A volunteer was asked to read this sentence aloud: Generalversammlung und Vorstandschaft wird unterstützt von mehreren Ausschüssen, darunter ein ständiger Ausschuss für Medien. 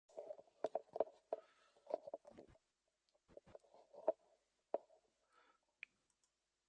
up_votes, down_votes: 1, 2